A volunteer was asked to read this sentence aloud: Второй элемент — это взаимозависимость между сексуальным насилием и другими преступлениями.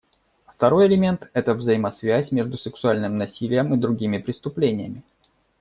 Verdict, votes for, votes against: rejected, 1, 2